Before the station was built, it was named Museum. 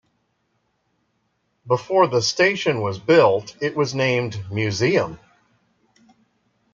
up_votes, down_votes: 0, 2